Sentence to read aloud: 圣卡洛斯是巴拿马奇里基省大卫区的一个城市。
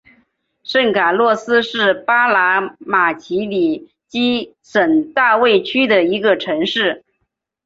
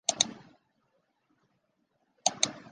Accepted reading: first